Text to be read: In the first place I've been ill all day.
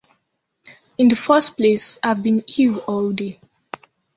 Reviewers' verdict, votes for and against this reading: accepted, 2, 1